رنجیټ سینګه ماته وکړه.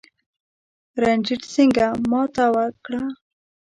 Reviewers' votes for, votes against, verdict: 2, 0, accepted